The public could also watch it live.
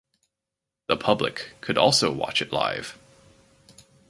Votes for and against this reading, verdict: 4, 0, accepted